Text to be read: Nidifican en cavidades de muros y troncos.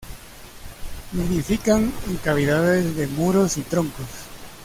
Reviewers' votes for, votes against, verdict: 2, 0, accepted